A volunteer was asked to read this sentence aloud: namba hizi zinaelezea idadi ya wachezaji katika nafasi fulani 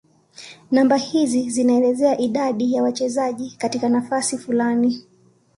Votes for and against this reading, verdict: 2, 0, accepted